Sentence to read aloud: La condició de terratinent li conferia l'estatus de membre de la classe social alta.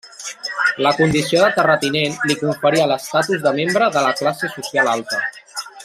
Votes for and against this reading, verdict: 0, 2, rejected